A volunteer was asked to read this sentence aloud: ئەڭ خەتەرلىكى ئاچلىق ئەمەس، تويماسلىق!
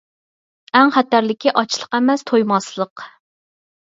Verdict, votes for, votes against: accepted, 4, 0